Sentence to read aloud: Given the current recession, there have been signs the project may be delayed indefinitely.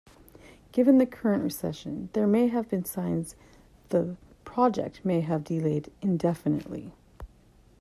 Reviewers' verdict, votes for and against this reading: rejected, 0, 2